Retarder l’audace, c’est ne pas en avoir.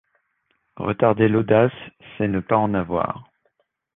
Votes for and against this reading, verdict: 2, 1, accepted